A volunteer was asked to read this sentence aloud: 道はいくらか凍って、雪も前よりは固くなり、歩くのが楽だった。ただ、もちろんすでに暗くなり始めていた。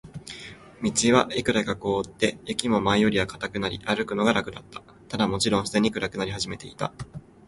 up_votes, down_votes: 1, 2